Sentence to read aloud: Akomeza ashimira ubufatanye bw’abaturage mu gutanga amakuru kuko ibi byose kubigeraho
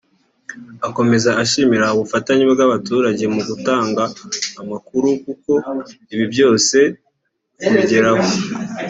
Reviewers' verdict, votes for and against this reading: rejected, 0, 2